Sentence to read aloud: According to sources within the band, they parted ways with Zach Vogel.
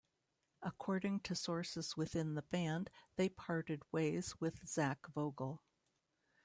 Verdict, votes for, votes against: accepted, 2, 0